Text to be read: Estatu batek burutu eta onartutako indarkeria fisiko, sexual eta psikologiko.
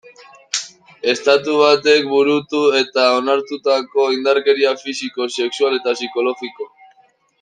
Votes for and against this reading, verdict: 2, 1, accepted